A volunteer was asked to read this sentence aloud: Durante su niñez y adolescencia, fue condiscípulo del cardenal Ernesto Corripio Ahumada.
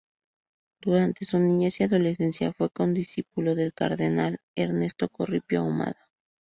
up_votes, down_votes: 2, 2